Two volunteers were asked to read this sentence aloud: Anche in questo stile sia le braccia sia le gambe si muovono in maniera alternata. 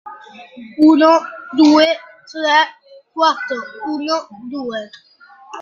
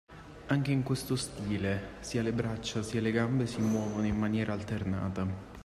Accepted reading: second